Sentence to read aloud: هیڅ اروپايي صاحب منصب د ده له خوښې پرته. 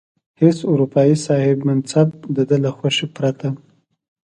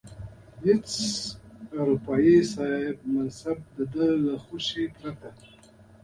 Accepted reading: first